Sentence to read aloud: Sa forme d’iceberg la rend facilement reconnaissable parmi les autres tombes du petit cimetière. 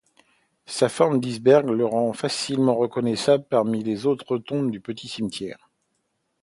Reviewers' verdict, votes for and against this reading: accepted, 2, 0